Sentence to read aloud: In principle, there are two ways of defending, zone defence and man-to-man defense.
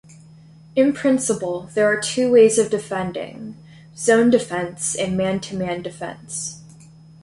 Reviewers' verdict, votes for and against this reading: accepted, 2, 0